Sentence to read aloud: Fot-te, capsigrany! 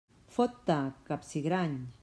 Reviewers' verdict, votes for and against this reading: accepted, 2, 0